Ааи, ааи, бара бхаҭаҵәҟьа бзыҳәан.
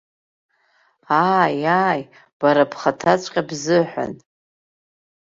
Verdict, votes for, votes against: rejected, 1, 2